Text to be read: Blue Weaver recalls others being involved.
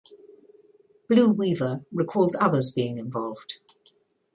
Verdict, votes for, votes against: accepted, 2, 0